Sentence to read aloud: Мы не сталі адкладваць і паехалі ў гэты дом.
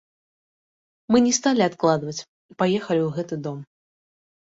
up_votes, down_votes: 2, 0